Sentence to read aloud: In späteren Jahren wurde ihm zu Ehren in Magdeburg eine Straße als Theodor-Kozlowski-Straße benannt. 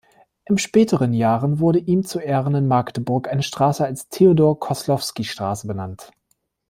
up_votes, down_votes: 0, 2